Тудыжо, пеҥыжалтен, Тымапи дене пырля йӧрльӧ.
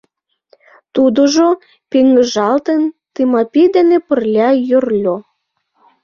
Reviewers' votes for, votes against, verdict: 1, 2, rejected